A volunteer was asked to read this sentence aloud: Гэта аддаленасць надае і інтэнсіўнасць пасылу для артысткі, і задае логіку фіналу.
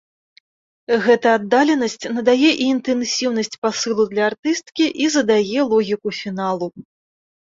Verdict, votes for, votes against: accepted, 2, 0